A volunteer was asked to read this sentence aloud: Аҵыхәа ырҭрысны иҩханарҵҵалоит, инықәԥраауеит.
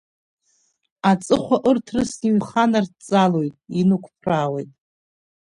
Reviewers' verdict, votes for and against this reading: accepted, 5, 0